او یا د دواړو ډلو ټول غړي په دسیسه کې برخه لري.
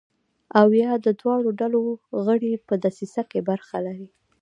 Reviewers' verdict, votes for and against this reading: rejected, 1, 2